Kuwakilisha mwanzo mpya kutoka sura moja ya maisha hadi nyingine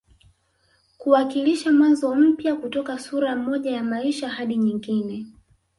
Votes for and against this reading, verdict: 1, 2, rejected